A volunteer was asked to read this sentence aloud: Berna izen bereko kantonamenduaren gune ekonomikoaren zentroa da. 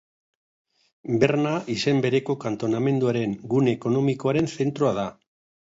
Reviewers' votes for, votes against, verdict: 3, 0, accepted